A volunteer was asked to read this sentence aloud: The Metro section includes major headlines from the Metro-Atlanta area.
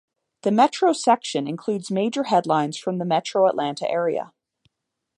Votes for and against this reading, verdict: 2, 0, accepted